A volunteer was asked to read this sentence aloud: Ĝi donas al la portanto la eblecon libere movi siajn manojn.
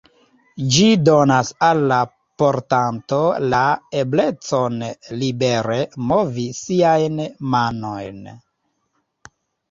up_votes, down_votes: 3, 0